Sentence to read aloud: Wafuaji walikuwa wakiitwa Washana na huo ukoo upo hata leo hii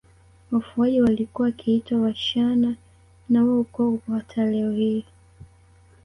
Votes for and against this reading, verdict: 1, 2, rejected